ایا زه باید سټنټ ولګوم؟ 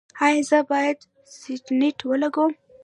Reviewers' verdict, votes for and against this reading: rejected, 0, 2